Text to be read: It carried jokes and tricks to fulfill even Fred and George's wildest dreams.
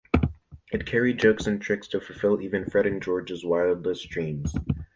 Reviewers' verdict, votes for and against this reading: accepted, 2, 0